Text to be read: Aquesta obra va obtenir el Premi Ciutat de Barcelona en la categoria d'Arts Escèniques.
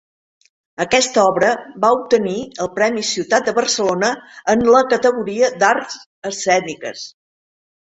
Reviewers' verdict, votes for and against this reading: accepted, 3, 0